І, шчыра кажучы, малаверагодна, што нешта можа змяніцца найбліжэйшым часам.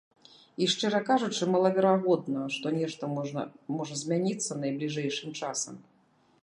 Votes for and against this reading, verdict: 1, 2, rejected